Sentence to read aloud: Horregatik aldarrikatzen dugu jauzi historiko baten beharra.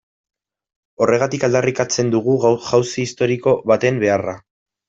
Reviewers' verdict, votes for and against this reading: rejected, 1, 2